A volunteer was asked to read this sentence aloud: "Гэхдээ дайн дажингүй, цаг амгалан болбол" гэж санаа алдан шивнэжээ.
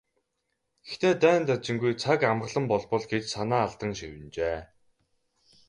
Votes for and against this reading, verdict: 2, 2, rejected